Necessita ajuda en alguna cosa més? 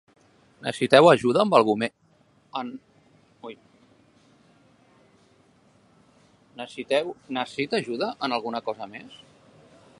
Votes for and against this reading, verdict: 0, 2, rejected